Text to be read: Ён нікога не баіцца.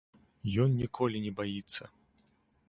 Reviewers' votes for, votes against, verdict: 0, 2, rejected